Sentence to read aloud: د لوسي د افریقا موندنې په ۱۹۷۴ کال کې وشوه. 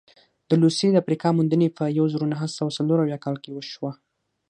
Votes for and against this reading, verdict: 0, 2, rejected